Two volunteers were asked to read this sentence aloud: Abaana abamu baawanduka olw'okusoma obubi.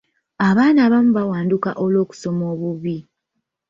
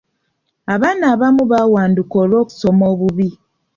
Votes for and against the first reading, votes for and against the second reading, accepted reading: 0, 2, 2, 0, second